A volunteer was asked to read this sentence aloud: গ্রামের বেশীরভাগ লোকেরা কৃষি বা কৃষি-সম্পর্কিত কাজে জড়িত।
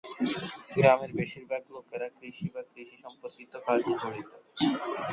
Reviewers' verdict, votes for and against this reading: rejected, 0, 2